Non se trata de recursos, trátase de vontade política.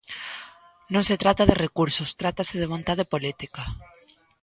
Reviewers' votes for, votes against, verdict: 2, 0, accepted